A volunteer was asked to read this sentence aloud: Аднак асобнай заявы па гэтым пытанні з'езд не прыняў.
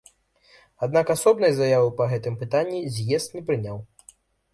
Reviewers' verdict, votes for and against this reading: accepted, 2, 0